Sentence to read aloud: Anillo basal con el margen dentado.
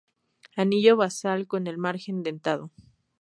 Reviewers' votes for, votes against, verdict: 2, 0, accepted